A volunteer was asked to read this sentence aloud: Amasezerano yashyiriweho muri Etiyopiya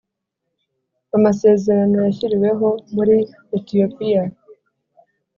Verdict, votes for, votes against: accepted, 3, 0